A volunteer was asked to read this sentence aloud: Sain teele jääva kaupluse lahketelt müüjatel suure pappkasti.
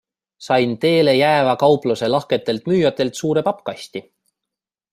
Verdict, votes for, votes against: accepted, 2, 0